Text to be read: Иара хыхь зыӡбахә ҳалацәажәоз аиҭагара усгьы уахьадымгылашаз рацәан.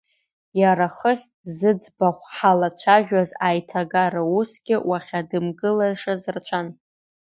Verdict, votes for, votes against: rejected, 1, 2